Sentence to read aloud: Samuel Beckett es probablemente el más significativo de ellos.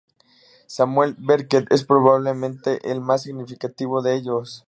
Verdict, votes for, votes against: rejected, 2, 2